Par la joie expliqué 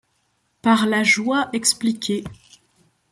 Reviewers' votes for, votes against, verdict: 2, 0, accepted